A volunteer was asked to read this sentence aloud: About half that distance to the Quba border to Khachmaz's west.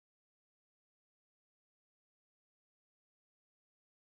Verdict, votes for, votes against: rejected, 0, 3